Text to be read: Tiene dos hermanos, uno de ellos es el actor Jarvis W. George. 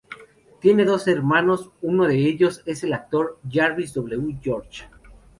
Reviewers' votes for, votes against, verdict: 2, 0, accepted